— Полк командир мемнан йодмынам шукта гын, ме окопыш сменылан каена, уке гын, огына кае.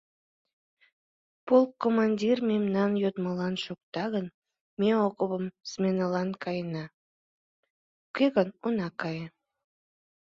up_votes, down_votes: 1, 2